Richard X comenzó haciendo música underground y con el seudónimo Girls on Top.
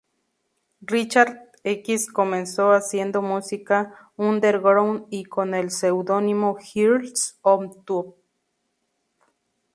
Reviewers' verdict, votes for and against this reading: rejected, 2, 4